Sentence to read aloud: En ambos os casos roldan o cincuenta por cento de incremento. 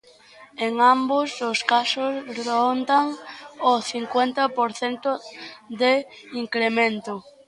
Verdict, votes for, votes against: rejected, 0, 2